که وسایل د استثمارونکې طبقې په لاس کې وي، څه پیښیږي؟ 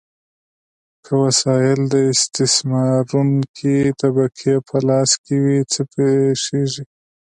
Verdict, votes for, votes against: accepted, 2, 0